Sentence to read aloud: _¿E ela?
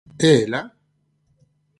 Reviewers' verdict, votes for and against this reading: accepted, 4, 0